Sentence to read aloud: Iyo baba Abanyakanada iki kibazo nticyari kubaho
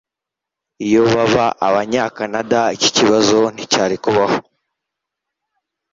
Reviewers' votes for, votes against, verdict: 2, 0, accepted